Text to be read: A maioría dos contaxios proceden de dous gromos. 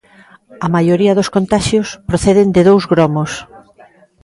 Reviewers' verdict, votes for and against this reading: accepted, 2, 0